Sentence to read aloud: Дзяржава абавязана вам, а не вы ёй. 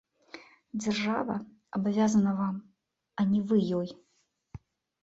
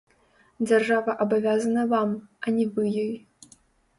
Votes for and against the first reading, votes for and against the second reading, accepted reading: 2, 0, 0, 2, first